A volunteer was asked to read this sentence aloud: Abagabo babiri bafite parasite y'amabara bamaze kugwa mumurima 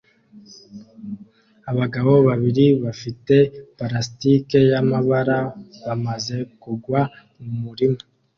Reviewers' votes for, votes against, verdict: 1, 2, rejected